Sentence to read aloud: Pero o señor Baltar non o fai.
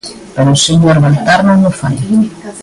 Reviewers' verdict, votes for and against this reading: rejected, 0, 2